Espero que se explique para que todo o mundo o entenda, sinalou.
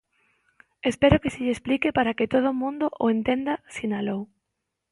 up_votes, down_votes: 0, 2